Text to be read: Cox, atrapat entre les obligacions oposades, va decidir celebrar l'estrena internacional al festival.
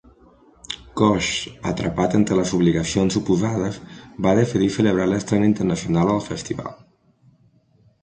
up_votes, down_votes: 0, 2